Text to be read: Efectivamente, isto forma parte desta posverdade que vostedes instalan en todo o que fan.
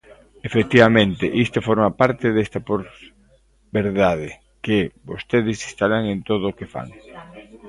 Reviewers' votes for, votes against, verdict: 0, 2, rejected